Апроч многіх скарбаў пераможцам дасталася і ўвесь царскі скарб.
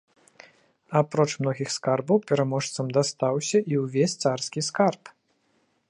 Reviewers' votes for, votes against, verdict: 0, 2, rejected